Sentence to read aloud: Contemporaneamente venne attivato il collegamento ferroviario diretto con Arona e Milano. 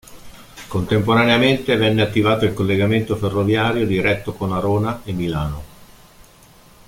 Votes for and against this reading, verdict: 2, 0, accepted